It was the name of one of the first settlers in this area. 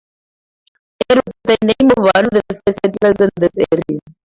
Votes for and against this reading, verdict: 0, 2, rejected